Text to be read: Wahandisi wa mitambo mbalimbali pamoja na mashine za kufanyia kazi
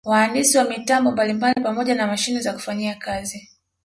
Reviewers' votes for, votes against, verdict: 2, 0, accepted